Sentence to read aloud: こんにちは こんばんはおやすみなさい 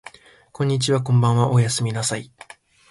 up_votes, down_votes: 2, 0